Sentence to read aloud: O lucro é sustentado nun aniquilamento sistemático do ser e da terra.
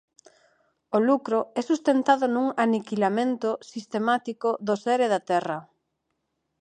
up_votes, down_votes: 4, 2